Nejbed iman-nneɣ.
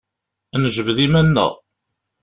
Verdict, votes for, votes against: accepted, 2, 0